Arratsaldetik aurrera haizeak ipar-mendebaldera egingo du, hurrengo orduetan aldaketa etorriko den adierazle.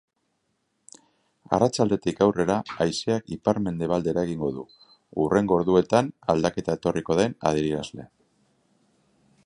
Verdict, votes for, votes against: accepted, 3, 0